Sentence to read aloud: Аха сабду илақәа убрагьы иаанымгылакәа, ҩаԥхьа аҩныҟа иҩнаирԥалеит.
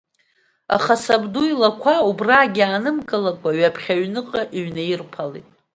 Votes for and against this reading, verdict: 2, 0, accepted